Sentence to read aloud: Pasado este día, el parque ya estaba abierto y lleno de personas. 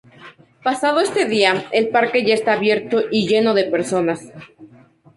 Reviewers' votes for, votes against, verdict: 4, 0, accepted